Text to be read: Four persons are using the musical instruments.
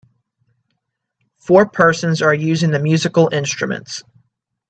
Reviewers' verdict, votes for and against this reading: accepted, 2, 0